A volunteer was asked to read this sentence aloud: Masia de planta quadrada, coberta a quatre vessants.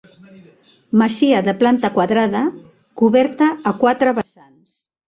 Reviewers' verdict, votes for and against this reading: rejected, 0, 2